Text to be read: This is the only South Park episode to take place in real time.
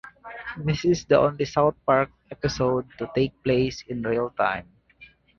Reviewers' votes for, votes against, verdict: 2, 2, rejected